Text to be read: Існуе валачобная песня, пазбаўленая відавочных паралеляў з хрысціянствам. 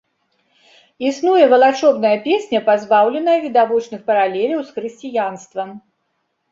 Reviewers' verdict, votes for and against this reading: rejected, 1, 2